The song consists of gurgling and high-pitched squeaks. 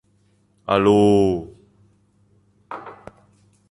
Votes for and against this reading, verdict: 0, 2, rejected